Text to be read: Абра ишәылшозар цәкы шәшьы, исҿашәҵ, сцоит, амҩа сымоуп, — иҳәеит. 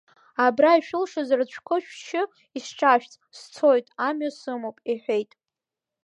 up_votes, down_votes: 2, 1